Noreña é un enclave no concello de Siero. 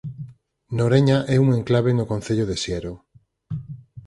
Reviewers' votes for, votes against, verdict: 4, 2, accepted